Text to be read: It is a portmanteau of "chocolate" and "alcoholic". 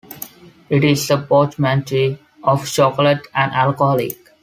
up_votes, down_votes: 1, 2